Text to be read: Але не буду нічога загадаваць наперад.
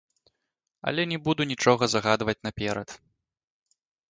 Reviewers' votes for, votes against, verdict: 0, 2, rejected